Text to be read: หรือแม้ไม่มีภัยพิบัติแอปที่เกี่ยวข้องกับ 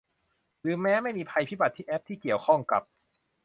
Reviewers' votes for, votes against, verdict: 0, 2, rejected